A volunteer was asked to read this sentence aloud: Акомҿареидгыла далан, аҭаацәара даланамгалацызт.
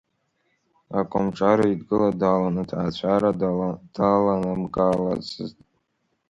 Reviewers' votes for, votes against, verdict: 0, 2, rejected